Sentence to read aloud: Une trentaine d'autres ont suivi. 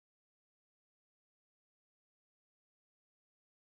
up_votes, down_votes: 0, 2